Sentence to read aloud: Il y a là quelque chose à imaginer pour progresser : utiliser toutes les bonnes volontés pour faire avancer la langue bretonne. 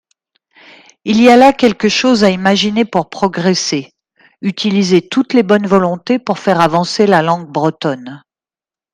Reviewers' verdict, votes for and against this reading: accepted, 2, 0